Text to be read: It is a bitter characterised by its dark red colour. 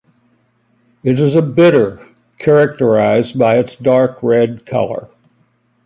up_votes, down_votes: 2, 0